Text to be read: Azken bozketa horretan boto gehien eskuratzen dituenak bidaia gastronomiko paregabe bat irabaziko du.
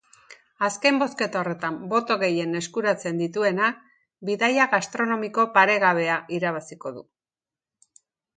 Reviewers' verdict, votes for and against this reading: rejected, 1, 2